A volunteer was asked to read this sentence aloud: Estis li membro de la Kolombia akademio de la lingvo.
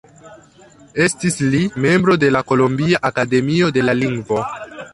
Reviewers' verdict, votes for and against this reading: accepted, 2, 1